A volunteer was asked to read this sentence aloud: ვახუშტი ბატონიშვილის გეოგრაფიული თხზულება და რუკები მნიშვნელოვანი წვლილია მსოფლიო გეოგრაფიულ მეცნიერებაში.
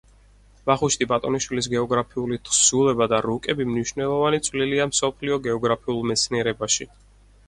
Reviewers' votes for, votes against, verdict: 4, 0, accepted